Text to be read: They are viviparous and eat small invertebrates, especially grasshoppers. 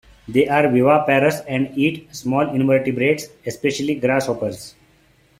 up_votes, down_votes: 0, 2